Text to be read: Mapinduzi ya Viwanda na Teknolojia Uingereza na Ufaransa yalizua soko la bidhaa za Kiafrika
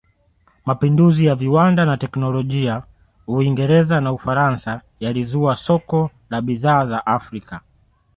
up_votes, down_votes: 1, 2